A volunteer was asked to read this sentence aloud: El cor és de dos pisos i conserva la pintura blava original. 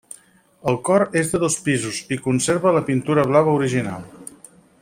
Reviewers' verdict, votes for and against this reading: accepted, 6, 0